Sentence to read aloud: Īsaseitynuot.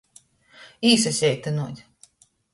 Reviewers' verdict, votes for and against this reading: accepted, 2, 0